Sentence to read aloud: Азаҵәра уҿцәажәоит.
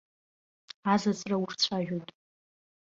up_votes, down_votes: 0, 2